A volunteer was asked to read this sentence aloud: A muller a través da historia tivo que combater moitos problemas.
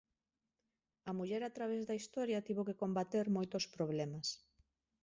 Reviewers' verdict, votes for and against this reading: accepted, 2, 0